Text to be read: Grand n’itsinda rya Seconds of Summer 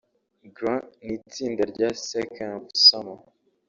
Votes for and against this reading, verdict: 0, 2, rejected